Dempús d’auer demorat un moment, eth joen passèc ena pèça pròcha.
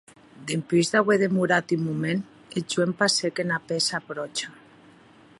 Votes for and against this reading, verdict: 2, 0, accepted